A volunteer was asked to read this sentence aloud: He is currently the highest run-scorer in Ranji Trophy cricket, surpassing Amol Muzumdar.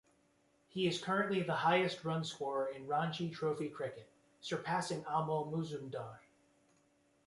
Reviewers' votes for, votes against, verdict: 2, 0, accepted